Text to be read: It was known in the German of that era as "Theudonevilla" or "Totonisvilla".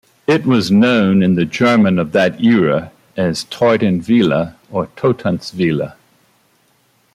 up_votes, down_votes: 0, 2